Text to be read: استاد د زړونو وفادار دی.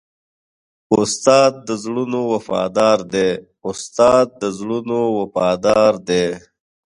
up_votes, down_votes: 1, 2